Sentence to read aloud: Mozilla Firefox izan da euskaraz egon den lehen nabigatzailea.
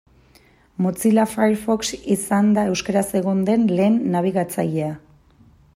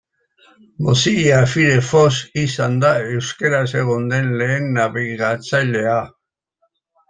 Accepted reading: first